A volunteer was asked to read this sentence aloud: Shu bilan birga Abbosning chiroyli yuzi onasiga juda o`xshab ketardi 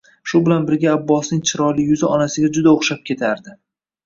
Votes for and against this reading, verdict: 2, 0, accepted